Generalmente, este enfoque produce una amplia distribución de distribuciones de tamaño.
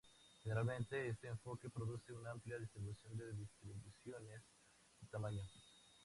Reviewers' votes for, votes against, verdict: 4, 2, accepted